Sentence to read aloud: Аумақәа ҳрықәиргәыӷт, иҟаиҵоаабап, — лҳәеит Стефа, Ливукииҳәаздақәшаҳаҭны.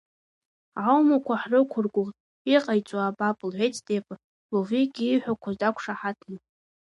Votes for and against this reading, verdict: 2, 0, accepted